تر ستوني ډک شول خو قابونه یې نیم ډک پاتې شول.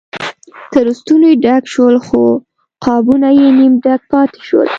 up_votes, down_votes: 2, 1